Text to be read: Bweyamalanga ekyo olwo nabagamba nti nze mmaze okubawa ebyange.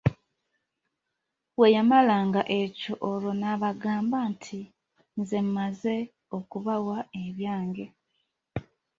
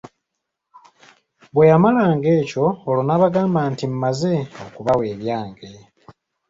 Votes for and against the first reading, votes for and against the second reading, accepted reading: 2, 0, 1, 2, first